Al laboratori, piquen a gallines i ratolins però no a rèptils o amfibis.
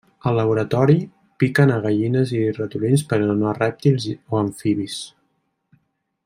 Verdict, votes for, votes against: rejected, 0, 2